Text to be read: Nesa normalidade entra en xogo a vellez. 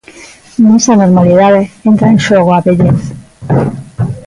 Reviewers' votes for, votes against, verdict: 1, 2, rejected